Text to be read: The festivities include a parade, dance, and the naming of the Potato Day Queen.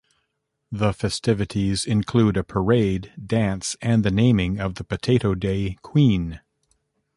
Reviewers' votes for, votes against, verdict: 2, 0, accepted